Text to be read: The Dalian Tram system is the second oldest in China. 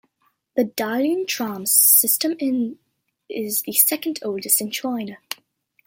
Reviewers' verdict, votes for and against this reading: rejected, 0, 2